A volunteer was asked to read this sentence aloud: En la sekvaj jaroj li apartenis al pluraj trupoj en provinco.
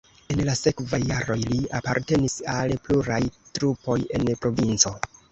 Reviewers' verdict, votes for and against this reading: rejected, 1, 2